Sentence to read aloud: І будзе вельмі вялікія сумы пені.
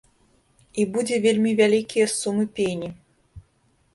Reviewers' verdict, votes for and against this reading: rejected, 1, 2